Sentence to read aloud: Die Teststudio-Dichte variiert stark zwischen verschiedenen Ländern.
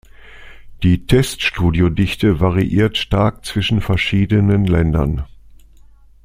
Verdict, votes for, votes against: accepted, 2, 0